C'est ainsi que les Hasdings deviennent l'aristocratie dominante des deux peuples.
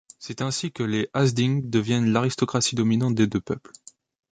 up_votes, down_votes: 2, 0